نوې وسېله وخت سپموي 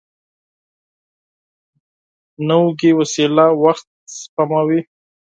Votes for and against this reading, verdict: 2, 10, rejected